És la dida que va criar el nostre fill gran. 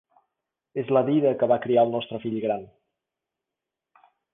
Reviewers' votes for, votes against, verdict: 3, 0, accepted